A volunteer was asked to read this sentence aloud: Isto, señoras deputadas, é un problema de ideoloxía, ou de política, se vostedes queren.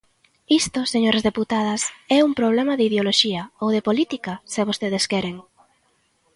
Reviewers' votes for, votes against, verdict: 2, 0, accepted